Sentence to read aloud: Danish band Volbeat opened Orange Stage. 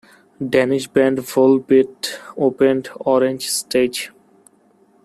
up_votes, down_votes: 1, 2